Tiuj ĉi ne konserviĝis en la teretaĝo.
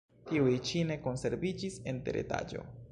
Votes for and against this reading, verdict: 0, 2, rejected